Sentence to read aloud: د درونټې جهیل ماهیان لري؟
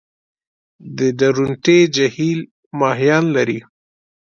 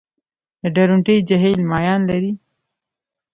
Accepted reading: first